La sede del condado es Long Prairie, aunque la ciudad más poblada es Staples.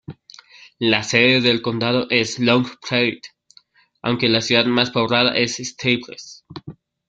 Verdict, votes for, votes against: rejected, 1, 2